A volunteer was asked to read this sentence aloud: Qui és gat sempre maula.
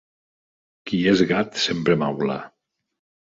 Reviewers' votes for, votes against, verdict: 2, 0, accepted